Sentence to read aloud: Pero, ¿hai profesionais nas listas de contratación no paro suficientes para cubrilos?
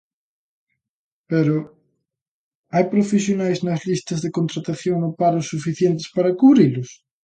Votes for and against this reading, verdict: 2, 0, accepted